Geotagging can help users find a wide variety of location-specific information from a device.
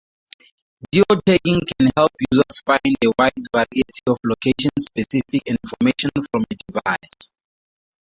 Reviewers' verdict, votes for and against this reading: accepted, 2, 0